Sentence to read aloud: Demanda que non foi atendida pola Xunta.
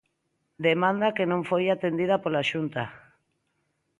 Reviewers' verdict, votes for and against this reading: accepted, 2, 0